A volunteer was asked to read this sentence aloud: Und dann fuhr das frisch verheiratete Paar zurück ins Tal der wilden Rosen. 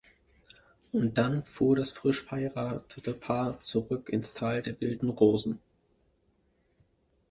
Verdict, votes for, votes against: rejected, 1, 2